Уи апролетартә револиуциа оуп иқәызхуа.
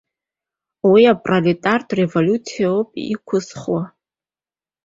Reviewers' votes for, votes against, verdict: 2, 0, accepted